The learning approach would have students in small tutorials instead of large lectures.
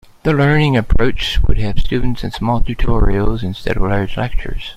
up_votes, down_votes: 2, 0